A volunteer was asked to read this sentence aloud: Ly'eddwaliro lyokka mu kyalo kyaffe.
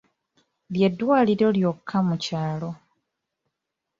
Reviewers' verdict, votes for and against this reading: rejected, 1, 2